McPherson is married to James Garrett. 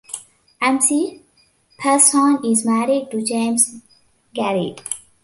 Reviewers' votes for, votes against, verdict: 0, 2, rejected